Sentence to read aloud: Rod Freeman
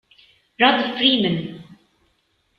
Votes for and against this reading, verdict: 1, 2, rejected